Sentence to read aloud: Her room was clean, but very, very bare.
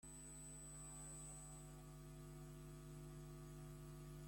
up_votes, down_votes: 0, 2